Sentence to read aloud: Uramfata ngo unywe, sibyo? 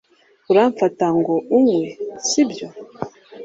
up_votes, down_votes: 2, 0